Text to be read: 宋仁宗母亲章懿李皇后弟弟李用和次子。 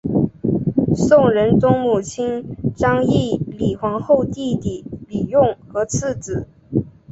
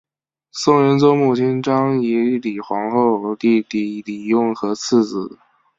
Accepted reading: first